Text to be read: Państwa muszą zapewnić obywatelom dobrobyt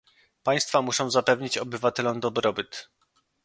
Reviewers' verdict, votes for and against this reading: accepted, 2, 0